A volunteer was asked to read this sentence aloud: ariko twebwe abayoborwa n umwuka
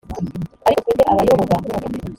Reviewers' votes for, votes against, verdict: 0, 2, rejected